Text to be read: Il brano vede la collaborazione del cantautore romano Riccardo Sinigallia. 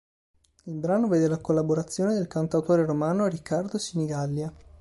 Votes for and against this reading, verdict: 2, 0, accepted